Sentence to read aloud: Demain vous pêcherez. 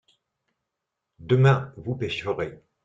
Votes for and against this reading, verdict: 2, 0, accepted